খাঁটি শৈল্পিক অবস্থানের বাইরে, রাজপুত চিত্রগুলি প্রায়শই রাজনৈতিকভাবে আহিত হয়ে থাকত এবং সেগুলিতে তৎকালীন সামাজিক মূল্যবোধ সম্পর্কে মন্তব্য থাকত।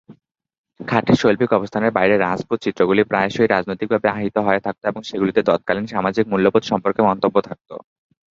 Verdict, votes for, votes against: accepted, 2, 1